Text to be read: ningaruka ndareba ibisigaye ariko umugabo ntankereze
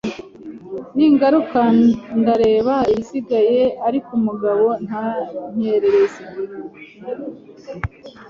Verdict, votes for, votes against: rejected, 1, 2